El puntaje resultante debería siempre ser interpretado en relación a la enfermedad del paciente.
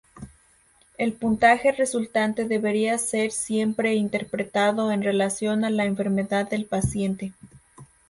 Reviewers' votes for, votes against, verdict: 0, 2, rejected